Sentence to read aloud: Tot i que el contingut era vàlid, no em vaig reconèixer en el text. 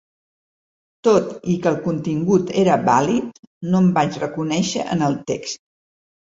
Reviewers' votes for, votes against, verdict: 4, 0, accepted